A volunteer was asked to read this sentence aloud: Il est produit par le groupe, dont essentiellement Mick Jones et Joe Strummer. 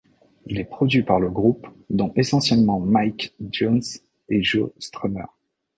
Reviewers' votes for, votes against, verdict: 0, 2, rejected